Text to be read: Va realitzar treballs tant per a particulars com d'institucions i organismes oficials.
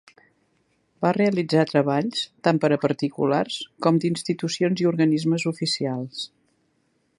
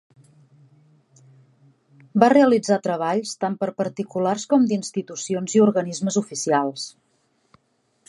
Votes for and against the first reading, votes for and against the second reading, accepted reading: 3, 0, 0, 2, first